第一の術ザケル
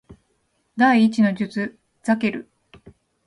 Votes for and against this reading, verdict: 2, 0, accepted